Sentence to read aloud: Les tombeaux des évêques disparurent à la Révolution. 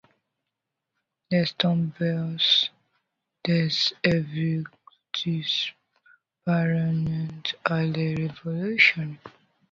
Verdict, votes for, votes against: rejected, 0, 2